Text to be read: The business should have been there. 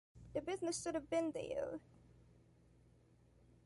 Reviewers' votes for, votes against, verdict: 2, 1, accepted